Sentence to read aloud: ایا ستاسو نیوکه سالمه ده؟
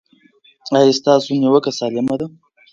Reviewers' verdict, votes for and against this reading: accepted, 3, 0